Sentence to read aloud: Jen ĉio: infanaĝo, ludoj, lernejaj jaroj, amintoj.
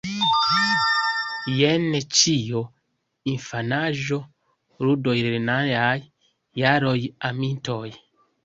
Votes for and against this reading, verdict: 0, 2, rejected